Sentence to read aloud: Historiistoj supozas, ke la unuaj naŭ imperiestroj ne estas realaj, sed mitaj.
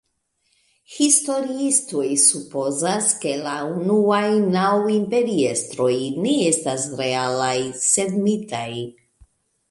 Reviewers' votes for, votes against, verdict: 2, 1, accepted